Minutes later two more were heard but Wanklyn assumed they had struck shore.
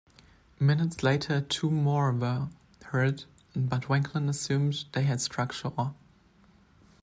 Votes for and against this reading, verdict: 2, 0, accepted